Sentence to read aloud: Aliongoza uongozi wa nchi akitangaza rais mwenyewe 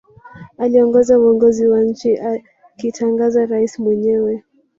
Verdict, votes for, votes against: rejected, 2, 3